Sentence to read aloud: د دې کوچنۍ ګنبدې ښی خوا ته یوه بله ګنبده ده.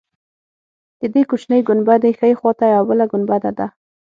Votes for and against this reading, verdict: 6, 0, accepted